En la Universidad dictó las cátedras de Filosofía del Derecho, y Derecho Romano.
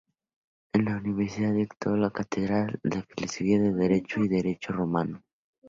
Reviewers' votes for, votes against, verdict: 0, 2, rejected